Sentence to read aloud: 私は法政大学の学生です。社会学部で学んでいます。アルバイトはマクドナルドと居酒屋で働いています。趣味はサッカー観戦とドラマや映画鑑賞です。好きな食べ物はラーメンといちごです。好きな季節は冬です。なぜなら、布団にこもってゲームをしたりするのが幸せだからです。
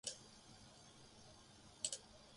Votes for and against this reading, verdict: 0, 2, rejected